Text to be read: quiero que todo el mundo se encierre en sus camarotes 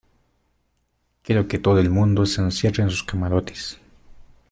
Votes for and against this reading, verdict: 0, 2, rejected